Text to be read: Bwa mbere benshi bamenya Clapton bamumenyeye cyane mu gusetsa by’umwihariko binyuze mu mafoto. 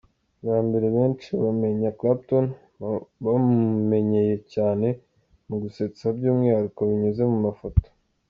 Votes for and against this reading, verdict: 5, 3, accepted